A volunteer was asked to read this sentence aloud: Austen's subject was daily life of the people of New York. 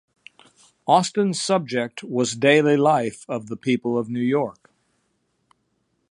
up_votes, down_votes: 2, 0